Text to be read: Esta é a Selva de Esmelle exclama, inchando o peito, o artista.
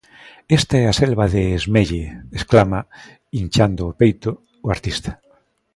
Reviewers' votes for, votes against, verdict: 2, 0, accepted